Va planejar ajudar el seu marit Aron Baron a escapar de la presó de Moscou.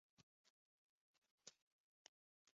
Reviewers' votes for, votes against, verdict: 0, 2, rejected